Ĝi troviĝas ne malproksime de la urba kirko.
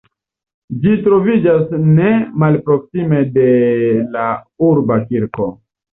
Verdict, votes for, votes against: rejected, 1, 2